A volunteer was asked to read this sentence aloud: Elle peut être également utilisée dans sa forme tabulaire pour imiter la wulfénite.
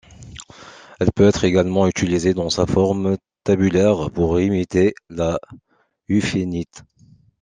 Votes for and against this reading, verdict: 0, 2, rejected